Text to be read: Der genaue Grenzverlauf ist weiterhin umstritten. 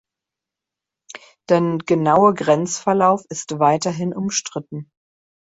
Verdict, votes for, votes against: rejected, 0, 2